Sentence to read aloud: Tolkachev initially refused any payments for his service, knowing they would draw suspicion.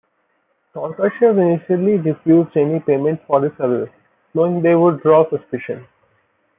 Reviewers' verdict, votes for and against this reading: rejected, 0, 2